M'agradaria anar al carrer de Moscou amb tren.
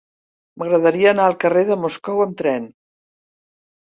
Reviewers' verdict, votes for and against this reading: accepted, 3, 0